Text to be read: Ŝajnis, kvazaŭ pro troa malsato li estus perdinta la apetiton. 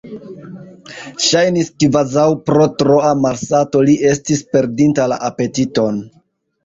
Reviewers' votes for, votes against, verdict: 1, 2, rejected